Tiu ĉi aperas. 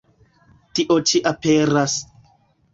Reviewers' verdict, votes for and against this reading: rejected, 0, 2